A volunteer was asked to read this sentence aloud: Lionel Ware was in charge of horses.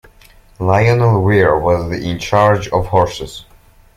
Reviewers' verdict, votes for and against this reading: rejected, 1, 2